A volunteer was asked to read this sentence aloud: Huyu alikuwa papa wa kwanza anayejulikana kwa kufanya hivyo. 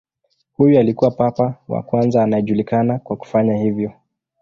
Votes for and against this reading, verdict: 2, 0, accepted